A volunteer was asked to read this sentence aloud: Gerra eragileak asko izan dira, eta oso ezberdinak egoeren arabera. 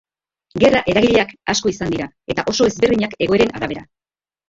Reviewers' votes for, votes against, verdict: 0, 2, rejected